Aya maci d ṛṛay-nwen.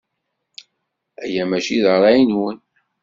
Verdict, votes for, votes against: accepted, 2, 0